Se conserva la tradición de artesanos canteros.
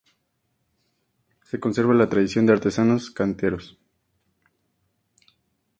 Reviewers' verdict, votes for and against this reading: accepted, 2, 0